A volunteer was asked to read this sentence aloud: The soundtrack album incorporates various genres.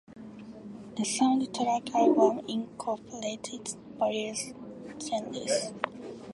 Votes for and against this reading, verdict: 0, 2, rejected